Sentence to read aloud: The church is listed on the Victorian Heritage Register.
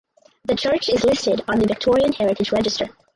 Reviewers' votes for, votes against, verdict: 4, 0, accepted